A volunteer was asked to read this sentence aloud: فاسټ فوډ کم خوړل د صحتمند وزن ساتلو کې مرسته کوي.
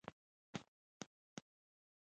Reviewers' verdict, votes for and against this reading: rejected, 0, 2